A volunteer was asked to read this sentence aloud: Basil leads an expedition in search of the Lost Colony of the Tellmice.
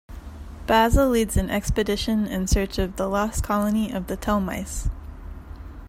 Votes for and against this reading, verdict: 2, 0, accepted